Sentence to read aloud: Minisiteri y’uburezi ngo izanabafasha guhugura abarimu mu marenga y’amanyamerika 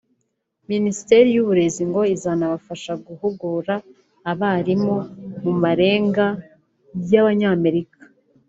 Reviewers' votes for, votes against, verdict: 1, 2, rejected